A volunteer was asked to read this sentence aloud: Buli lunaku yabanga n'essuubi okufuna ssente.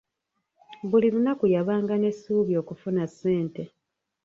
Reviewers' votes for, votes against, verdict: 1, 2, rejected